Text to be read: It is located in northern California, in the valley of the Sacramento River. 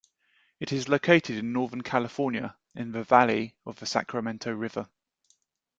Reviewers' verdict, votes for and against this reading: accepted, 2, 0